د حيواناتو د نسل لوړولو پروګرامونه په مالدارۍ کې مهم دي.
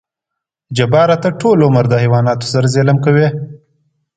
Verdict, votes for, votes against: rejected, 0, 2